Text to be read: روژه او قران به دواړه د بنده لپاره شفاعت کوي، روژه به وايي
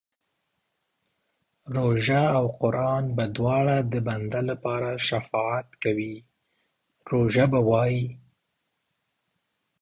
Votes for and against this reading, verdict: 2, 0, accepted